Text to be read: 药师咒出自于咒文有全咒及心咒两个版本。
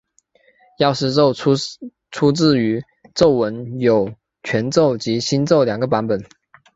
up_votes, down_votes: 2, 3